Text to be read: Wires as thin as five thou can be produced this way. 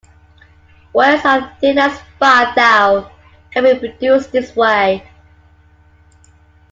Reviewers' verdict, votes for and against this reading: accepted, 2, 0